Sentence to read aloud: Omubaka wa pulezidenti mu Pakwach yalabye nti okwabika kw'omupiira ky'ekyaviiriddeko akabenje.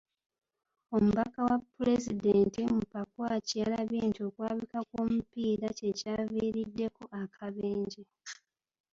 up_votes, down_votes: 2, 0